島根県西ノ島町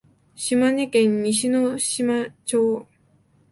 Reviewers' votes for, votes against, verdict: 0, 2, rejected